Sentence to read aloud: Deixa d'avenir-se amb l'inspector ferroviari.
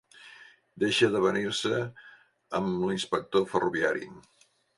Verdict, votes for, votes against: accepted, 2, 0